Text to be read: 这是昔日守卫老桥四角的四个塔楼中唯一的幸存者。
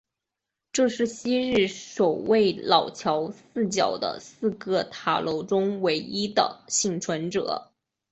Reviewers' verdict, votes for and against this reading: accepted, 3, 1